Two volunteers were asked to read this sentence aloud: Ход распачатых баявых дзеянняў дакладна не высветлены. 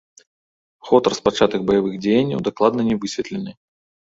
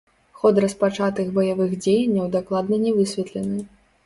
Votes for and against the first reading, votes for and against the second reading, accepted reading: 2, 0, 1, 2, first